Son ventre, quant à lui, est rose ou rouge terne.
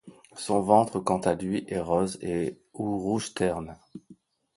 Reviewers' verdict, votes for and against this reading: rejected, 1, 2